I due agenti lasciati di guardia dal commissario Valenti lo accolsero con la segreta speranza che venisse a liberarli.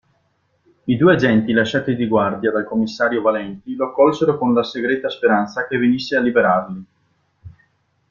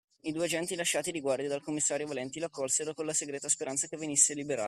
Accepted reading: first